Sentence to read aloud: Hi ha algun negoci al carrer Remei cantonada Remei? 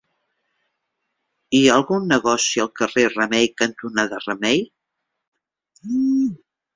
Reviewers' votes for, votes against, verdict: 1, 2, rejected